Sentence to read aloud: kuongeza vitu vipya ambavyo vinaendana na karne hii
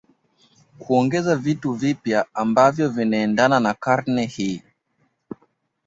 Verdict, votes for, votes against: accepted, 3, 0